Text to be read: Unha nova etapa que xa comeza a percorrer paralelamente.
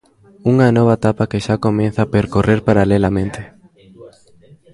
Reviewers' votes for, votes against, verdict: 1, 2, rejected